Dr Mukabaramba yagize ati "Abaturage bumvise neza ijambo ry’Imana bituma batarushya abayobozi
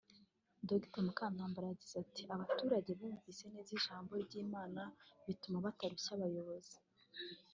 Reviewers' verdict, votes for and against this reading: accepted, 3, 0